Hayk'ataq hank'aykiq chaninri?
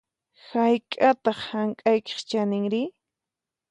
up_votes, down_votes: 4, 0